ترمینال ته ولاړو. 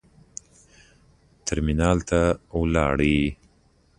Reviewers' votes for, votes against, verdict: 2, 0, accepted